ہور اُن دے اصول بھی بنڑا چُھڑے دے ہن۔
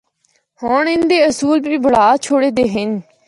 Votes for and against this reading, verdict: 0, 2, rejected